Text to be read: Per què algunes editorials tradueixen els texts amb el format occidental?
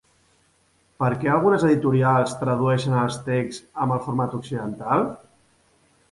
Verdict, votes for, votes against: accepted, 3, 0